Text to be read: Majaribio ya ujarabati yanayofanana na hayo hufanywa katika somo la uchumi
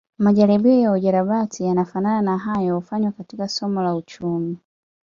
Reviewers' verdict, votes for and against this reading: rejected, 0, 2